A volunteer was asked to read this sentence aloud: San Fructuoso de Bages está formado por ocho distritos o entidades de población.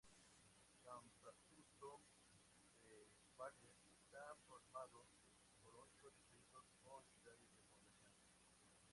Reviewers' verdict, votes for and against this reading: rejected, 0, 4